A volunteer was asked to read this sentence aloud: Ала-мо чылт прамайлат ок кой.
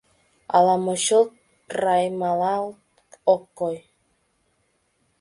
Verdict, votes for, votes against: rejected, 0, 2